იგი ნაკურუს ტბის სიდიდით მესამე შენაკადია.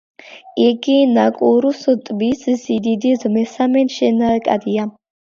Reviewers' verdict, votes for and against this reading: accepted, 2, 0